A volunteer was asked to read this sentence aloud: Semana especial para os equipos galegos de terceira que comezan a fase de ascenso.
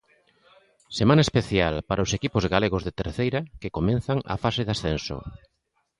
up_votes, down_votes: 0, 2